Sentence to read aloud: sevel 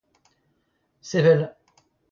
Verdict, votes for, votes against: rejected, 0, 2